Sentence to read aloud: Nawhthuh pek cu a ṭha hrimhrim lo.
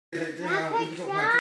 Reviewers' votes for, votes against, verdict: 0, 2, rejected